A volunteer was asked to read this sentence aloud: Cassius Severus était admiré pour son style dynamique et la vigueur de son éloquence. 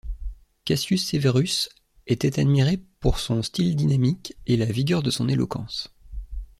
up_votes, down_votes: 2, 0